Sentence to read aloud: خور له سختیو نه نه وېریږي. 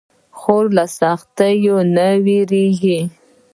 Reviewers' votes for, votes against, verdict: 2, 0, accepted